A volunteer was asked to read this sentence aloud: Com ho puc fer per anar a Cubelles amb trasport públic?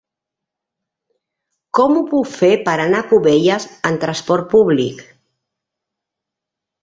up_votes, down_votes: 3, 1